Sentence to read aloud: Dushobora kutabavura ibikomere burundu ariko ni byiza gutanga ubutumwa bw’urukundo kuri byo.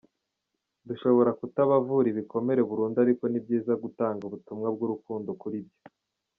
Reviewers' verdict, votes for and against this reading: rejected, 0, 2